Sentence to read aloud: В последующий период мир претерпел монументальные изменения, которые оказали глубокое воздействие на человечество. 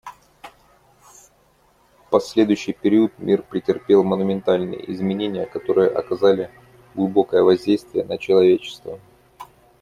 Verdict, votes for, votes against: accepted, 2, 0